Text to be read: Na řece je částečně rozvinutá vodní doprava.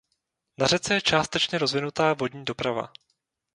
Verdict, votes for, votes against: rejected, 0, 2